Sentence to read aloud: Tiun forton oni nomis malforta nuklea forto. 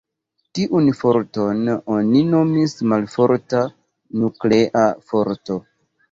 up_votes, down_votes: 2, 1